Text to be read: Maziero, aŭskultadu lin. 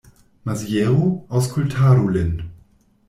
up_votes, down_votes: 2, 0